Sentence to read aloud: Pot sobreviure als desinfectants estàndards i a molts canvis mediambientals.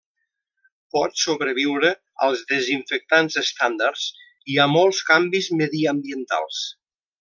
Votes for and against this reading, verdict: 2, 0, accepted